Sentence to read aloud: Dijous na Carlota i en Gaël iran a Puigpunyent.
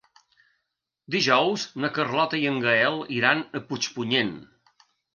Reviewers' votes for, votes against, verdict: 4, 0, accepted